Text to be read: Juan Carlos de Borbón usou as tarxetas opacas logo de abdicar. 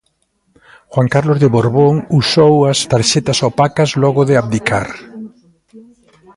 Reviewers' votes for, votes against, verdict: 2, 0, accepted